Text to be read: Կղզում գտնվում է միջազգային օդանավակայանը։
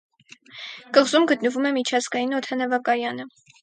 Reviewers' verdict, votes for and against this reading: accepted, 2, 0